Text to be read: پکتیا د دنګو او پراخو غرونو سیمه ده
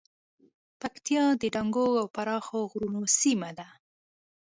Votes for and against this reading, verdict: 2, 0, accepted